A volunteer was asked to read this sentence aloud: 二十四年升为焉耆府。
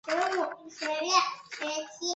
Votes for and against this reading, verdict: 0, 2, rejected